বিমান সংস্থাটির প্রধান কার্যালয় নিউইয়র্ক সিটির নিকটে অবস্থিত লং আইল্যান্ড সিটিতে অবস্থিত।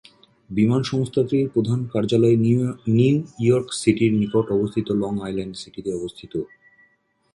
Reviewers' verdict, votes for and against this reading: rejected, 0, 2